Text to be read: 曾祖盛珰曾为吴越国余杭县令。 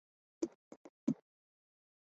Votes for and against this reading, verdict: 0, 3, rejected